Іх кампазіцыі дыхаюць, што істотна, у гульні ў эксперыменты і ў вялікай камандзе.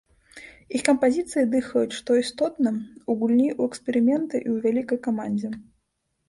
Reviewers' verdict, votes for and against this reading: rejected, 1, 2